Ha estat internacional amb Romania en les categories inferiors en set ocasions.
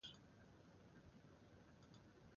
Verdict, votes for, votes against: rejected, 0, 2